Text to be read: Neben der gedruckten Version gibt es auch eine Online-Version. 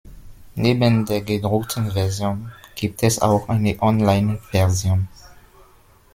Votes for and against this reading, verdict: 2, 0, accepted